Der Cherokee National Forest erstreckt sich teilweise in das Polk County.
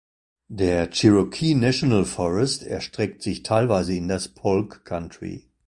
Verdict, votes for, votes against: rejected, 0, 2